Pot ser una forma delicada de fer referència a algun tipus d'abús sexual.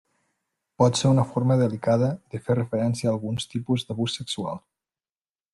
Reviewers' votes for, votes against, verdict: 1, 2, rejected